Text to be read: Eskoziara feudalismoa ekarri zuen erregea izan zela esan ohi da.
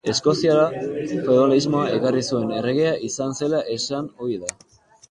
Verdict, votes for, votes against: rejected, 0, 4